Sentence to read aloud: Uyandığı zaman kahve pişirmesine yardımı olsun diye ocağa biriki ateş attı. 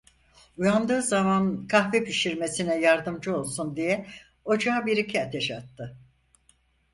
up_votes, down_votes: 0, 4